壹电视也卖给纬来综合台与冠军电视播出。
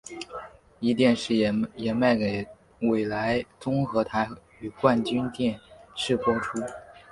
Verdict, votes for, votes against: rejected, 3, 4